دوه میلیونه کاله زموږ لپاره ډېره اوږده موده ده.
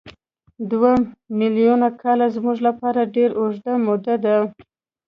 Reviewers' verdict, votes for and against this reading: rejected, 0, 2